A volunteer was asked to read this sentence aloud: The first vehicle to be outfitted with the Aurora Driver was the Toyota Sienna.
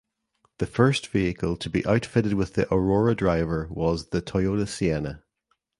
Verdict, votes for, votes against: accepted, 2, 0